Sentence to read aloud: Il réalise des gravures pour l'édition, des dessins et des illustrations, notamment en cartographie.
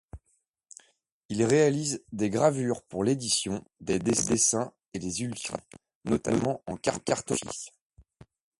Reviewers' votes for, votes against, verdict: 0, 2, rejected